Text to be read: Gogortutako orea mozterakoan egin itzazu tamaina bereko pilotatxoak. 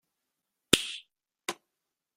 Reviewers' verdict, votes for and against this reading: rejected, 0, 2